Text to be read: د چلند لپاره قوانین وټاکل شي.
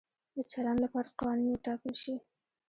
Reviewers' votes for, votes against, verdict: 1, 2, rejected